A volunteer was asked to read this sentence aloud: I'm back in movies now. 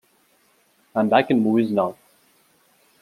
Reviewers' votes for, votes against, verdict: 2, 0, accepted